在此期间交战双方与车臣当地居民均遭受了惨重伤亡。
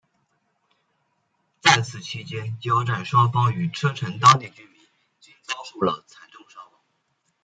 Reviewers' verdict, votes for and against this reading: accepted, 2, 1